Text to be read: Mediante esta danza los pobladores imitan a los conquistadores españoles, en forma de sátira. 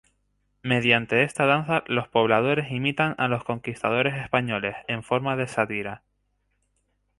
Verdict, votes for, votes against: accepted, 2, 0